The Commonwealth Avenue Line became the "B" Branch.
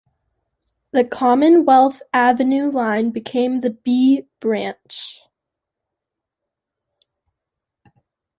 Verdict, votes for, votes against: accepted, 2, 0